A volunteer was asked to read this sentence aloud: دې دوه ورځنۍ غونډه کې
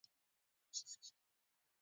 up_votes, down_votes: 1, 2